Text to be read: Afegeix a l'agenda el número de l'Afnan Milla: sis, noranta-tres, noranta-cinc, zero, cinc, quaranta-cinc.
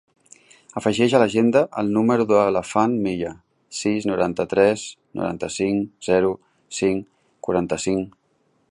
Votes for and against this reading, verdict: 2, 0, accepted